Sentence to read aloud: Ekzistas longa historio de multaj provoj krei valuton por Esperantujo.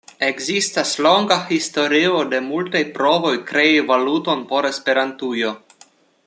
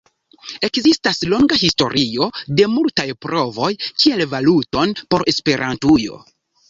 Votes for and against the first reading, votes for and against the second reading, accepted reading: 2, 0, 0, 2, first